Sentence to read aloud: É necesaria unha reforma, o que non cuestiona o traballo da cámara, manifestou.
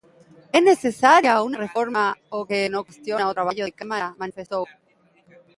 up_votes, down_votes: 0, 2